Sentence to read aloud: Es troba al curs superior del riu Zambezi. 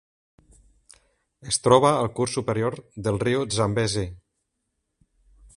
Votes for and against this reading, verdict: 3, 0, accepted